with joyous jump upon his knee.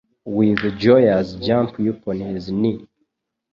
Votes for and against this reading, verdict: 1, 2, rejected